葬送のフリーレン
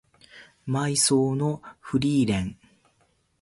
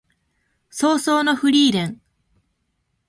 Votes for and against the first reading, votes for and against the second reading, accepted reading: 1, 3, 2, 0, second